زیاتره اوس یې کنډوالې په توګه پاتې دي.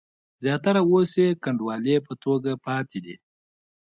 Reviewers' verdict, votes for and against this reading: rejected, 0, 2